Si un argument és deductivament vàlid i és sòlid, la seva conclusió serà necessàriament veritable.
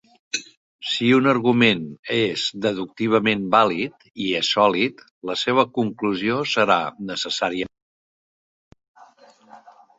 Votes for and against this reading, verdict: 0, 2, rejected